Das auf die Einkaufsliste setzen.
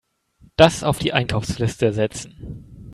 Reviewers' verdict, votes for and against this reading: accepted, 2, 0